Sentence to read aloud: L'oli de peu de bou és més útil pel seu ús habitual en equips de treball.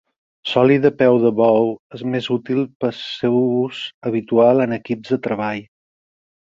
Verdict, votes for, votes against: accepted, 6, 4